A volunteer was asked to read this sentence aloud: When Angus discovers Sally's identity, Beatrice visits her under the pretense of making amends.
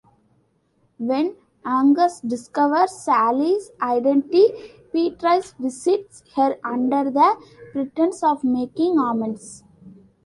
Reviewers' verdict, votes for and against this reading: accepted, 3, 0